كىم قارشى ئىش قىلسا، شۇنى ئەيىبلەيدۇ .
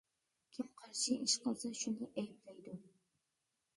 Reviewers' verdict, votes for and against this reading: rejected, 0, 2